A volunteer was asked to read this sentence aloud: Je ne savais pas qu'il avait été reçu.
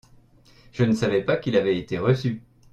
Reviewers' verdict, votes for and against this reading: accepted, 2, 0